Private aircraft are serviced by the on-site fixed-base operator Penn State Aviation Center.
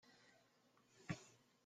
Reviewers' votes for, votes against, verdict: 0, 2, rejected